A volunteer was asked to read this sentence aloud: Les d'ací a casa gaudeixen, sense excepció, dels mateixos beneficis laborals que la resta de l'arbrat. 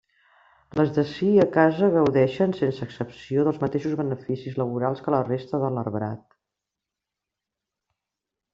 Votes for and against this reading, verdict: 2, 0, accepted